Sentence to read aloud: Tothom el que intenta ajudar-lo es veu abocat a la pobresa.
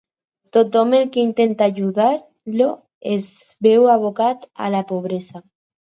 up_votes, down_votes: 4, 2